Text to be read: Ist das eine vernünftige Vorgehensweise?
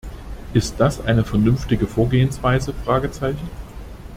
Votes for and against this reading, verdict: 1, 2, rejected